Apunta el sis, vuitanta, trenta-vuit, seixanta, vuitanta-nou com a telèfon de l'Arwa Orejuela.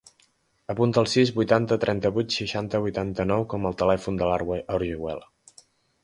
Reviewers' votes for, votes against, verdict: 0, 2, rejected